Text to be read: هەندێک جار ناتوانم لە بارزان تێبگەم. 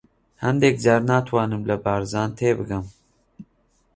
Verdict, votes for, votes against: accepted, 2, 0